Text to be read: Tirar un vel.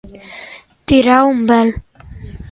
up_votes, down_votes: 2, 0